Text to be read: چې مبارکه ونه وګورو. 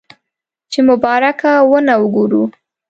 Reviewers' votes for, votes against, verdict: 2, 0, accepted